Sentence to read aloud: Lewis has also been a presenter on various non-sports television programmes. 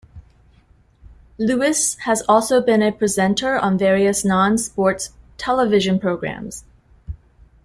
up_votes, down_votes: 2, 0